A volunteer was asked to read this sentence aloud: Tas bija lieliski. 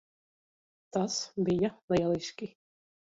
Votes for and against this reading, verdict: 1, 2, rejected